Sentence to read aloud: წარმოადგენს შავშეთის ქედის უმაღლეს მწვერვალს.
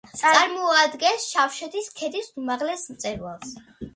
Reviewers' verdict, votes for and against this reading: accepted, 2, 1